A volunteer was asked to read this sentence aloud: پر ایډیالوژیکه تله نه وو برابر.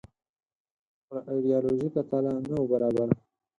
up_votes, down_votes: 4, 0